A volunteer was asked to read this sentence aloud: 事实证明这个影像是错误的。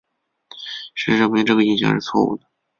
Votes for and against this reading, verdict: 7, 0, accepted